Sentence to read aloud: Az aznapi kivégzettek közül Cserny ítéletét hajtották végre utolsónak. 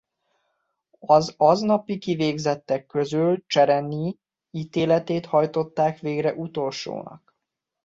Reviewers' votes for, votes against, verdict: 0, 2, rejected